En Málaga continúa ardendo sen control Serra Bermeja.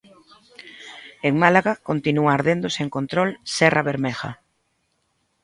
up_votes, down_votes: 2, 1